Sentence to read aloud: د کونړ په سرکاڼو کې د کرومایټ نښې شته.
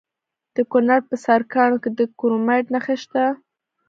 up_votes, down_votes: 0, 2